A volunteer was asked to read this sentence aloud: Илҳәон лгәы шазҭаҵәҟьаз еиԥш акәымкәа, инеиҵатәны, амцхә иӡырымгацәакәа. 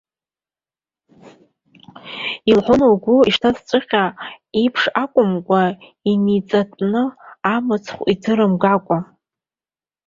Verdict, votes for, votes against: rejected, 0, 3